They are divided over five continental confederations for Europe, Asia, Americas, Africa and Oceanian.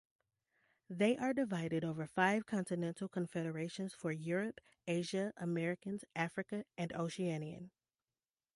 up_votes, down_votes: 2, 0